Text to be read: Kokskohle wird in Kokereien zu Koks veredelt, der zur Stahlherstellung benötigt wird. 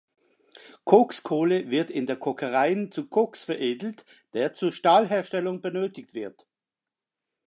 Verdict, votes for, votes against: rejected, 0, 2